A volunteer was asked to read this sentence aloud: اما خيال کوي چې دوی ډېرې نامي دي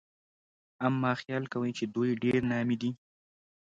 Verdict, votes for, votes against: accepted, 2, 0